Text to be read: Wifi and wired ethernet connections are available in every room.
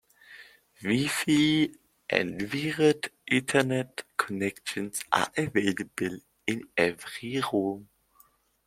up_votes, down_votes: 1, 2